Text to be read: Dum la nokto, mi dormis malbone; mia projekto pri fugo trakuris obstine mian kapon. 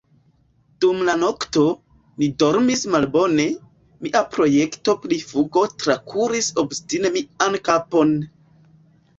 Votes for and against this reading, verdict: 2, 0, accepted